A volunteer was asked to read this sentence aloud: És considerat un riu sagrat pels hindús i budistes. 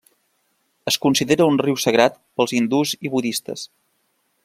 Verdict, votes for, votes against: rejected, 0, 2